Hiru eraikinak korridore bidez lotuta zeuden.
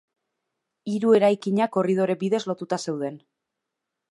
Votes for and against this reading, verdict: 2, 1, accepted